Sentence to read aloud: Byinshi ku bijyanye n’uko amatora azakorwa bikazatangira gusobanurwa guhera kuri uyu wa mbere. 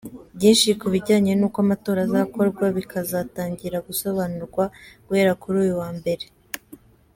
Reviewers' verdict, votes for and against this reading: accepted, 3, 0